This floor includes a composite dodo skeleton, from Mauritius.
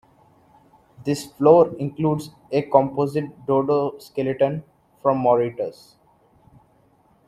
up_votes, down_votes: 1, 2